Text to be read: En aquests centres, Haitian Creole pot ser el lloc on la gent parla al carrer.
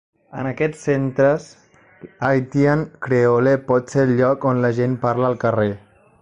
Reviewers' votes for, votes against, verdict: 0, 2, rejected